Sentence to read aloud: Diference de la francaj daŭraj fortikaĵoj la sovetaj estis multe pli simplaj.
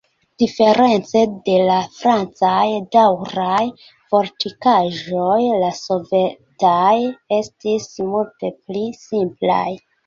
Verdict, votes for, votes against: accepted, 2, 0